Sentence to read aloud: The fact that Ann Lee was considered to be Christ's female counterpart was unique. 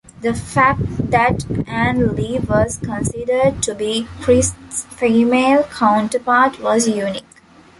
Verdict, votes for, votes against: accepted, 3, 1